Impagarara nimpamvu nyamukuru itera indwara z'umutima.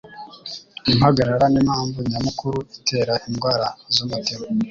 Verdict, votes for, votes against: accepted, 3, 0